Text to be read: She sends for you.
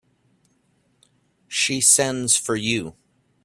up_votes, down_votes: 2, 0